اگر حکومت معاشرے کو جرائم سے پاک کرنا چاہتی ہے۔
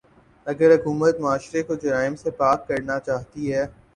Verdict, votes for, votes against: accepted, 9, 0